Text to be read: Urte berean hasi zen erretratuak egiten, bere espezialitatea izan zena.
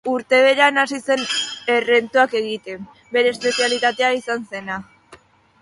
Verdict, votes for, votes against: rejected, 0, 2